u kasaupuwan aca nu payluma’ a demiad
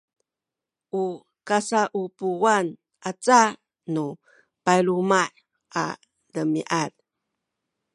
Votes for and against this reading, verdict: 1, 2, rejected